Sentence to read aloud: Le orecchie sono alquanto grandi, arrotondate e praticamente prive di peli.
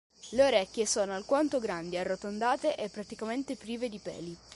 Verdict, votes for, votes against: accepted, 2, 0